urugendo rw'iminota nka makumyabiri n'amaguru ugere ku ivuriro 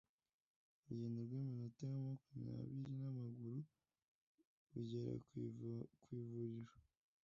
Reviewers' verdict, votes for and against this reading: rejected, 0, 2